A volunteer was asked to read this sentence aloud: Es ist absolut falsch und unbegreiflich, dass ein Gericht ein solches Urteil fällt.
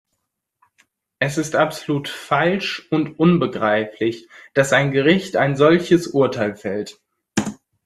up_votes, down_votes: 2, 0